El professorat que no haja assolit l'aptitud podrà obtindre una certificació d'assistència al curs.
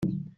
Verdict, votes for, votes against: rejected, 0, 2